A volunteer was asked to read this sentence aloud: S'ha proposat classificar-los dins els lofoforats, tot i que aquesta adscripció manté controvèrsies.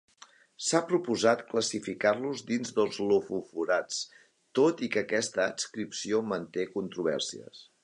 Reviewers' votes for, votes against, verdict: 2, 0, accepted